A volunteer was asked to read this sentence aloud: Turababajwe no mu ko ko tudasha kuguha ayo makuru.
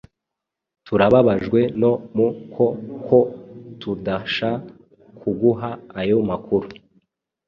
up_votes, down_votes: 2, 0